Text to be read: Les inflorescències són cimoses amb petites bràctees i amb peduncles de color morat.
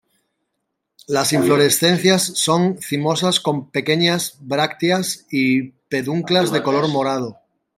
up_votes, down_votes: 0, 3